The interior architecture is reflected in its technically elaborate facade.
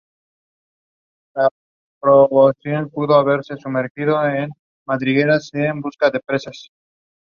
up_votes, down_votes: 2, 1